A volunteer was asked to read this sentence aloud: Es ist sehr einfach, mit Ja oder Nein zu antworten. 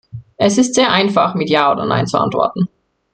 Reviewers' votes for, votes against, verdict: 2, 0, accepted